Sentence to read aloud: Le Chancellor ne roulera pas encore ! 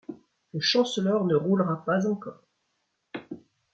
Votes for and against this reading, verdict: 2, 0, accepted